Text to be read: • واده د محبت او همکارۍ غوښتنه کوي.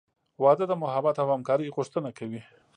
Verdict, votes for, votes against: accepted, 2, 0